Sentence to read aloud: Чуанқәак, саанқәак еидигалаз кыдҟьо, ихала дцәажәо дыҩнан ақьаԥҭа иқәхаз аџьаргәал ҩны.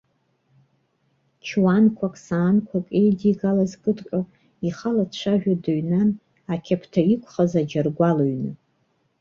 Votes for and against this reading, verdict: 2, 1, accepted